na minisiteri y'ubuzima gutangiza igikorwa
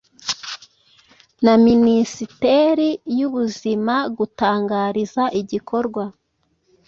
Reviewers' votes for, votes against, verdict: 0, 2, rejected